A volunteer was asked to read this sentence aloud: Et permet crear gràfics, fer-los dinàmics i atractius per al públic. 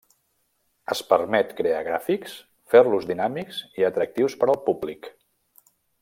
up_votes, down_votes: 0, 2